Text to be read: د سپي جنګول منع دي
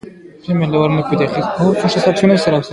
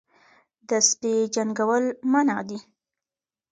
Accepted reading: second